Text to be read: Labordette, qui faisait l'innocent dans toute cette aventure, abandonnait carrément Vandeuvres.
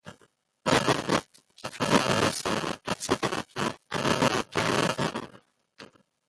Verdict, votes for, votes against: rejected, 0, 2